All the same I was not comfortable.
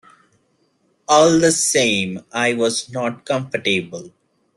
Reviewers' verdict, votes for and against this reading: rejected, 0, 2